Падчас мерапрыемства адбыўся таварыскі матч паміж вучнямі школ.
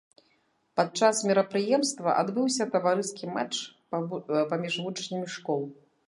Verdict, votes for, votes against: rejected, 0, 2